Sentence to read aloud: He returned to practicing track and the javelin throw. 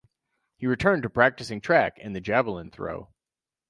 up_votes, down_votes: 4, 0